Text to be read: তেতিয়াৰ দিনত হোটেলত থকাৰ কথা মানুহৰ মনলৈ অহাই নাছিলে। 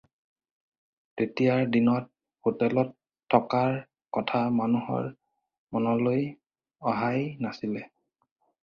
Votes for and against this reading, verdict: 4, 0, accepted